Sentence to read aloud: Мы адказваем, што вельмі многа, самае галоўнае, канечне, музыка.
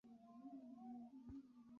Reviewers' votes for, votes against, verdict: 0, 2, rejected